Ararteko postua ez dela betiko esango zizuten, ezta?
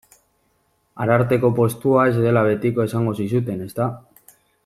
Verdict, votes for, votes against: accepted, 2, 0